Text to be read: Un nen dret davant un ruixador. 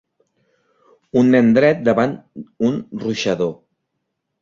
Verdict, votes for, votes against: accepted, 2, 1